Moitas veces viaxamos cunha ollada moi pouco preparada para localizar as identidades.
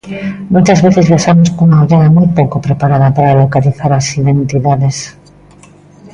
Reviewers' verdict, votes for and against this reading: rejected, 1, 2